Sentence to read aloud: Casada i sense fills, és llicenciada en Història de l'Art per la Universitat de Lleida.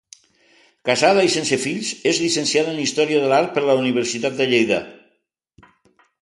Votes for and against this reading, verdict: 2, 0, accepted